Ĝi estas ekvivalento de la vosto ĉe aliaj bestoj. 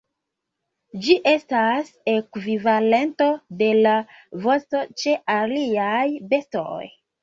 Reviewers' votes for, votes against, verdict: 0, 2, rejected